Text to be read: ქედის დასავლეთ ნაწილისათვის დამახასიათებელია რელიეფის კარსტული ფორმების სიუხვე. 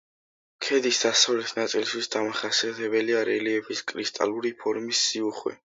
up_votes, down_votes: 0, 3